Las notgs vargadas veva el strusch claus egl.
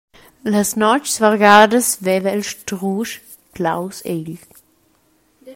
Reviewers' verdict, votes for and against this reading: accepted, 2, 1